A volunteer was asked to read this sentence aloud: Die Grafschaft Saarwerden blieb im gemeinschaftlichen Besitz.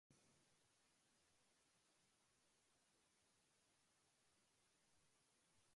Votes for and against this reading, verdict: 0, 2, rejected